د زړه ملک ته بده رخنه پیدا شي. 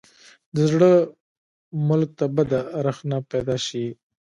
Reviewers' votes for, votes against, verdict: 2, 1, accepted